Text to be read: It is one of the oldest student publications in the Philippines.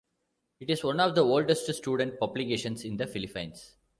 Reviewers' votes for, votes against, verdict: 1, 2, rejected